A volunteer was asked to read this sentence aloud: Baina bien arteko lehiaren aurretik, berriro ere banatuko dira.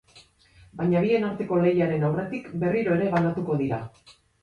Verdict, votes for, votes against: accepted, 6, 2